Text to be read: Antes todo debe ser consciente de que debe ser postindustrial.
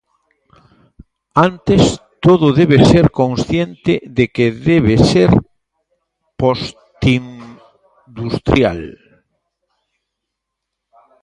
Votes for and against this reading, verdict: 0, 2, rejected